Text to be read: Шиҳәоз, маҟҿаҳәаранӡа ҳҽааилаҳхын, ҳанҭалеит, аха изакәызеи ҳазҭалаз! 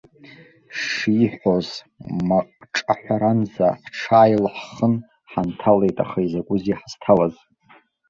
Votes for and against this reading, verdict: 1, 2, rejected